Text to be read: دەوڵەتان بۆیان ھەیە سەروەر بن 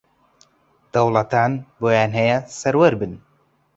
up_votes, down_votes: 2, 0